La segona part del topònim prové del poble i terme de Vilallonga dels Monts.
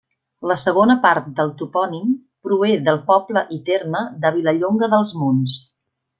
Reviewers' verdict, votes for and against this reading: accepted, 2, 0